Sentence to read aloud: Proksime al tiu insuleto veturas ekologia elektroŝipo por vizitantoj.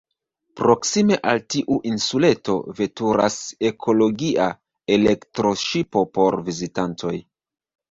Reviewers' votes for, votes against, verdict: 1, 2, rejected